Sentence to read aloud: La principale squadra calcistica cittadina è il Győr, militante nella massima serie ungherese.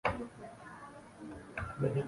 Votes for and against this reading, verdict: 0, 2, rejected